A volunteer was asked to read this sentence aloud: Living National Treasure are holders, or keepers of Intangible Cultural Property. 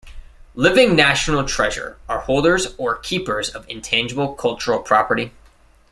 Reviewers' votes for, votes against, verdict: 2, 0, accepted